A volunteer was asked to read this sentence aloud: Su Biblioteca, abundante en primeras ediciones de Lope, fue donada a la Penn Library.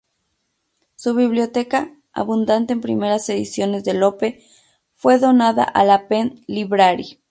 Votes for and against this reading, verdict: 2, 0, accepted